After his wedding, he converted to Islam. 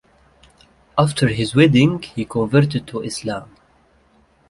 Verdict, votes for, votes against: accepted, 2, 0